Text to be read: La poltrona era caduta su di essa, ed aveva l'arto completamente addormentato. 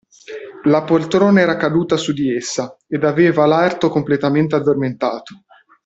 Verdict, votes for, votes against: accepted, 2, 0